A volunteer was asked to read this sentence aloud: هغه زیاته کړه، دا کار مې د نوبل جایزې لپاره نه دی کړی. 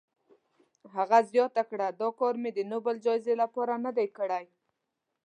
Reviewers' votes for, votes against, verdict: 1, 2, rejected